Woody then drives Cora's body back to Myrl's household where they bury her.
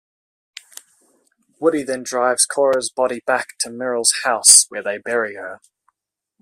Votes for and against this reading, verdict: 0, 2, rejected